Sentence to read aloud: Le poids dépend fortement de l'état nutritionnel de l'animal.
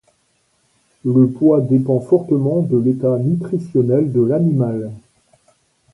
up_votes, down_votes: 0, 2